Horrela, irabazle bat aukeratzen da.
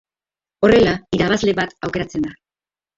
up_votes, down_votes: 0, 2